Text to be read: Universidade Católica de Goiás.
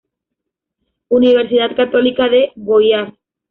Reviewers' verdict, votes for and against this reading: rejected, 1, 2